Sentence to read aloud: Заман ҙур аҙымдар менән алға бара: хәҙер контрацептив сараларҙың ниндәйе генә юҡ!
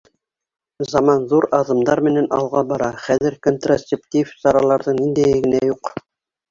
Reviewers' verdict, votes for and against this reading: accepted, 3, 2